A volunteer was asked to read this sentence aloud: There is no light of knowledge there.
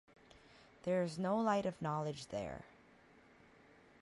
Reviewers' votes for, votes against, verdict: 2, 0, accepted